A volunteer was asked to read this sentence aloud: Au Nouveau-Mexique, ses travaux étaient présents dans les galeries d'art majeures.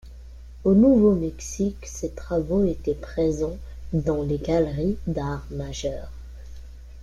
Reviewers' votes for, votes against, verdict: 2, 1, accepted